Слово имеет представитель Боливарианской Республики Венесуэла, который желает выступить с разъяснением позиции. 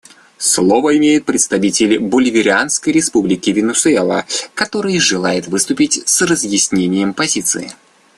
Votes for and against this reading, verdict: 2, 1, accepted